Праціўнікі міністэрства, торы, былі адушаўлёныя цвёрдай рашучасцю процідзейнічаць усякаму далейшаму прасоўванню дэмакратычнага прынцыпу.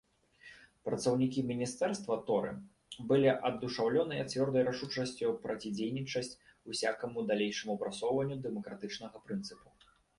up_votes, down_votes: 0, 2